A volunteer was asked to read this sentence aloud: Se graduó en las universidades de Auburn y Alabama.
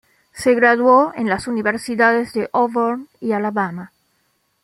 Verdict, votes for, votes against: accepted, 2, 0